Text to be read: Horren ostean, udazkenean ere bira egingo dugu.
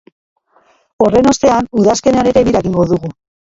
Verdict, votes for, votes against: rejected, 1, 2